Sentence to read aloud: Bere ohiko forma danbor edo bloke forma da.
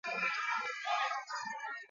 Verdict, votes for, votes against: rejected, 0, 8